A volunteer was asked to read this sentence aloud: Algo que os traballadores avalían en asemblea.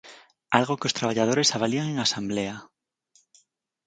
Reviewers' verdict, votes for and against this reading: rejected, 2, 4